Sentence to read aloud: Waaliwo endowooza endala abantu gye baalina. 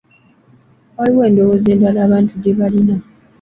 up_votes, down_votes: 2, 1